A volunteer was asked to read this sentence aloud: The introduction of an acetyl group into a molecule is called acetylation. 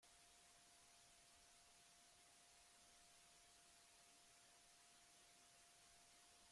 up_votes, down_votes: 0, 2